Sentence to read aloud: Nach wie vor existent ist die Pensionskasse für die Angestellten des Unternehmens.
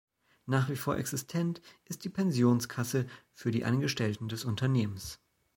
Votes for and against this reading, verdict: 2, 0, accepted